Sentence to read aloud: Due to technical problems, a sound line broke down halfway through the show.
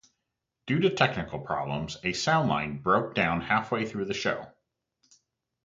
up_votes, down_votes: 4, 0